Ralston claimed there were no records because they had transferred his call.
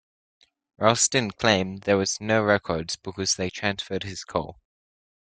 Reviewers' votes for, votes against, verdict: 0, 2, rejected